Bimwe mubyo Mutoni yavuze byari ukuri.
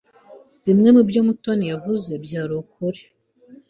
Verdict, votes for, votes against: accepted, 2, 0